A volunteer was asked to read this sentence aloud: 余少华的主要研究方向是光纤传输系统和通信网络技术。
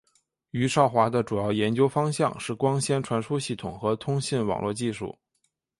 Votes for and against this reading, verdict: 2, 0, accepted